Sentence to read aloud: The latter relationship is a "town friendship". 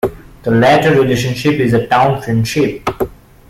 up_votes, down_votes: 2, 0